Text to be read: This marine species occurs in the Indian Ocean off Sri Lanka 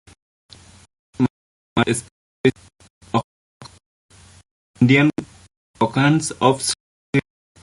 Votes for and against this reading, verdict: 0, 2, rejected